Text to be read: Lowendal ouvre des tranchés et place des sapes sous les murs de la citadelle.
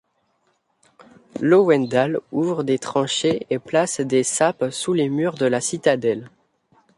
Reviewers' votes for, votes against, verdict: 2, 0, accepted